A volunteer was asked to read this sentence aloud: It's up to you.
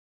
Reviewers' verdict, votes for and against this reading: rejected, 0, 2